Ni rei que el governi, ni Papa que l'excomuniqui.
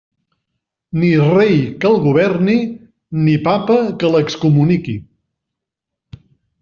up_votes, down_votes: 3, 0